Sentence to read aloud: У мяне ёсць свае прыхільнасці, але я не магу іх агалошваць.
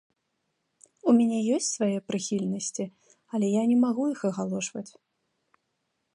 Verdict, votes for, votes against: rejected, 1, 2